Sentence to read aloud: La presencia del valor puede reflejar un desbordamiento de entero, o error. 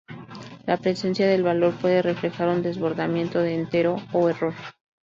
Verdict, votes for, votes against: accepted, 2, 0